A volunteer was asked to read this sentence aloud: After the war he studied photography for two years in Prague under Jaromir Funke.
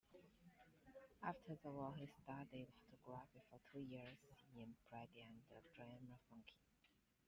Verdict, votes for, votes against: rejected, 0, 2